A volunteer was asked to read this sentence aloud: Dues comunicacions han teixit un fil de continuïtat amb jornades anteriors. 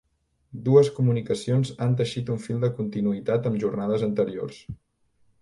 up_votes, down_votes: 2, 0